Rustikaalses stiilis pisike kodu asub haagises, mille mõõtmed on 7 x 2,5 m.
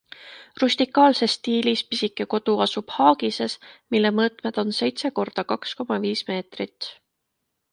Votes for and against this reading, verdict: 0, 2, rejected